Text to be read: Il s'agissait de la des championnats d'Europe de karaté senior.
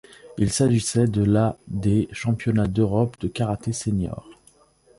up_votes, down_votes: 2, 0